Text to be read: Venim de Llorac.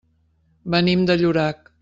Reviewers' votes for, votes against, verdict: 3, 0, accepted